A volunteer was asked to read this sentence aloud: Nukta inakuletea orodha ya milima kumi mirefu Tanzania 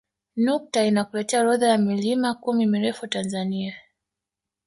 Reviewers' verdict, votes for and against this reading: rejected, 1, 2